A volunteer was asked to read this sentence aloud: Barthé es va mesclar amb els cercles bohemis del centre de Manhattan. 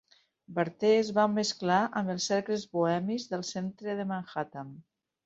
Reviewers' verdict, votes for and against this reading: accepted, 8, 0